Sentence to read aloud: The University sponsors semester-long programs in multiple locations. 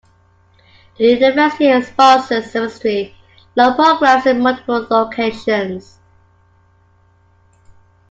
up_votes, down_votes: 2, 1